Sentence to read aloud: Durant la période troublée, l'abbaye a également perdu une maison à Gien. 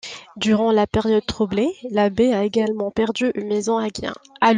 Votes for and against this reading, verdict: 0, 2, rejected